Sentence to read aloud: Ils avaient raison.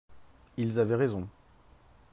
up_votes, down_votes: 3, 0